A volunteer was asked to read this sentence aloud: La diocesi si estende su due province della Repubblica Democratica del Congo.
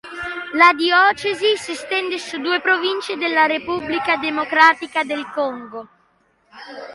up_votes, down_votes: 0, 2